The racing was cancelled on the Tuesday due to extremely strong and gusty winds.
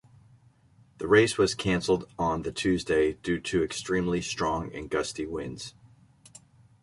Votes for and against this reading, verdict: 1, 2, rejected